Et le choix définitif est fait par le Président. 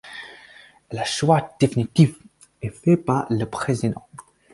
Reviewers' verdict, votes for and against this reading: rejected, 2, 4